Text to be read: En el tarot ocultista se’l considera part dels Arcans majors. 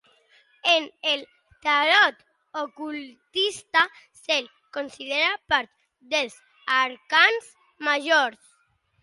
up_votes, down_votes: 2, 1